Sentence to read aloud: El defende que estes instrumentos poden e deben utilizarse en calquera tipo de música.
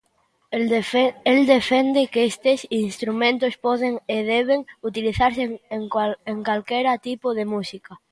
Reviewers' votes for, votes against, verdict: 0, 2, rejected